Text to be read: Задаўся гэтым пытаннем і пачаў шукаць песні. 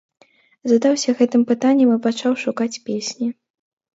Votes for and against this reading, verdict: 2, 0, accepted